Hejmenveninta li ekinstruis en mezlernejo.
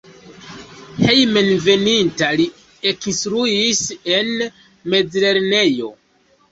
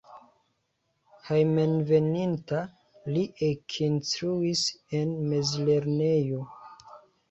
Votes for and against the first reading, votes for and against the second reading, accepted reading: 2, 0, 0, 2, first